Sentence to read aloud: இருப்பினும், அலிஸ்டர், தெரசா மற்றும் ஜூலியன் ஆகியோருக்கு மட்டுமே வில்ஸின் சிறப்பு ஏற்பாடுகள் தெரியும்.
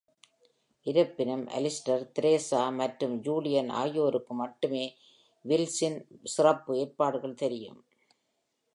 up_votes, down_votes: 2, 0